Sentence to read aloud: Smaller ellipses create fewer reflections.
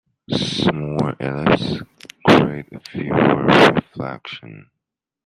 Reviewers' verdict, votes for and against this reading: rejected, 0, 2